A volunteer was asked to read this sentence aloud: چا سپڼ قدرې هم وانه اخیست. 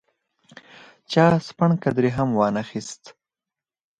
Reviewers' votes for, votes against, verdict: 4, 2, accepted